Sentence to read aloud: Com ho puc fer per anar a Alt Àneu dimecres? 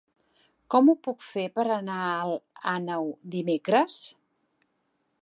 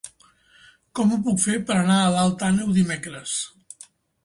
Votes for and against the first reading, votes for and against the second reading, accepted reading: 2, 0, 1, 2, first